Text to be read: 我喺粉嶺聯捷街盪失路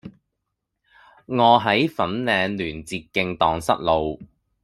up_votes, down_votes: 1, 2